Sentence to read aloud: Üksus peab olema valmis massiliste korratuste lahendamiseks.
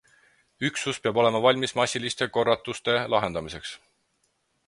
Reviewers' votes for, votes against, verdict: 6, 0, accepted